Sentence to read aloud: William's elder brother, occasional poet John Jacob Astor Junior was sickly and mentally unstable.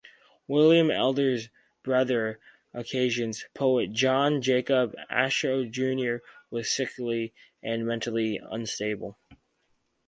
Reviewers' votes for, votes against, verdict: 0, 4, rejected